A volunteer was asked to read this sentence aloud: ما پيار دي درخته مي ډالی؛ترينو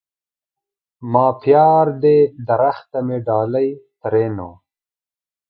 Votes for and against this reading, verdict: 1, 2, rejected